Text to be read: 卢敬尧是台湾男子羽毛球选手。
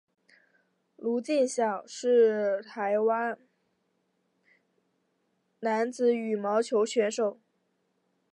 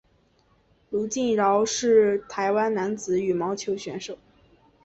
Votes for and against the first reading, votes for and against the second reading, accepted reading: 0, 5, 3, 0, second